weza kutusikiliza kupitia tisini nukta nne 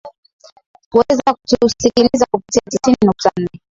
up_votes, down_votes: 6, 4